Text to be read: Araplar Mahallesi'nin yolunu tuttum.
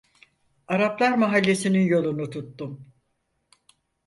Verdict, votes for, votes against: accepted, 4, 0